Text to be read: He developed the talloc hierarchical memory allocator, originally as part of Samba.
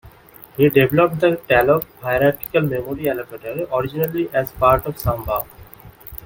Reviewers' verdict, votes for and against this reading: rejected, 0, 2